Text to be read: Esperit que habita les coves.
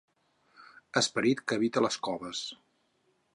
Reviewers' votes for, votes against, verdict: 4, 0, accepted